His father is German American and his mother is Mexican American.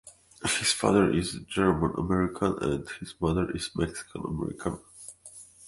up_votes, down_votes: 3, 0